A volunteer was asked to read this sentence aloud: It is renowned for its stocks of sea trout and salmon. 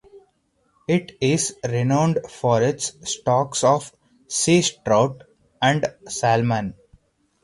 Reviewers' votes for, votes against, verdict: 2, 2, rejected